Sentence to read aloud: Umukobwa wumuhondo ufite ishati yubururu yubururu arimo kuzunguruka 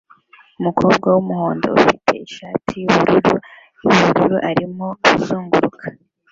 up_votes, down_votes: 1, 2